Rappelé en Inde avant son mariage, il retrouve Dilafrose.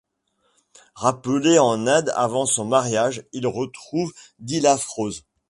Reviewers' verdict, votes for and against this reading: accepted, 2, 0